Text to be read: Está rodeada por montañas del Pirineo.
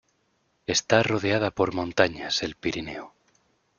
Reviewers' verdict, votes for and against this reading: rejected, 1, 2